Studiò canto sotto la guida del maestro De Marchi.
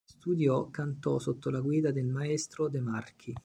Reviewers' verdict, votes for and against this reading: rejected, 0, 2